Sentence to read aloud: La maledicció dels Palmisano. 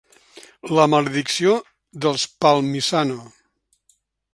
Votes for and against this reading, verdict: 2, 0, accepted